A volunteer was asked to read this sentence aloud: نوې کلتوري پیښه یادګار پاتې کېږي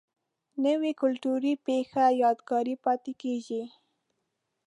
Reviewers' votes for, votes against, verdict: 2, 0, accepted